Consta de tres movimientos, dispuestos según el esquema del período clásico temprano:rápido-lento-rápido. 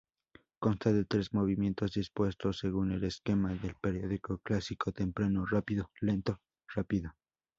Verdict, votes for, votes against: rejected, 2, 2